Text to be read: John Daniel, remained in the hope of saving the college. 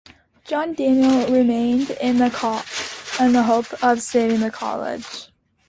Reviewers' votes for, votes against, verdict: 2, 1, accepted